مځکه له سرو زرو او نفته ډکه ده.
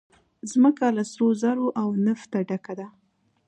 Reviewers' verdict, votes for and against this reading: accepted, 2, 0